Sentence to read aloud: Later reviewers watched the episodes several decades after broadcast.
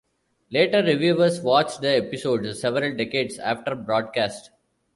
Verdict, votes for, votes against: accepted, 2, 0